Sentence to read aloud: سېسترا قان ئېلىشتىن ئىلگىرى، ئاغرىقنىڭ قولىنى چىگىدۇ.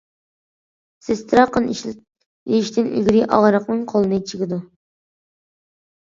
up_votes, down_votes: 0, 2